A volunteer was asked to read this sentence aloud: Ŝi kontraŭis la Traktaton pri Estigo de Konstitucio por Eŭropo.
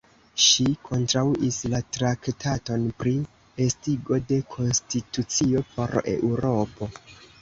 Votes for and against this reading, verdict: 1, 2, rejected